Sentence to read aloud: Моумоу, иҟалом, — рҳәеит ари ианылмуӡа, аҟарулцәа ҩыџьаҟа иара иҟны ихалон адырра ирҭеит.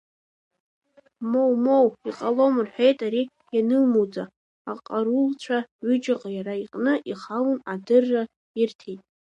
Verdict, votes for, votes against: rejected, 0, 2